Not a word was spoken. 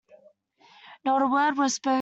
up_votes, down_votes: 0, 2